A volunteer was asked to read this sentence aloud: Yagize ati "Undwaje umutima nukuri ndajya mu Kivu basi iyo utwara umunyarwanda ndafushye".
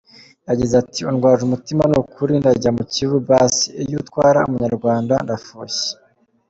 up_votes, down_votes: 2, 1